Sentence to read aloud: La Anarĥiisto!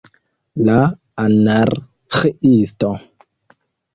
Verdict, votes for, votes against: accepted, 2, 0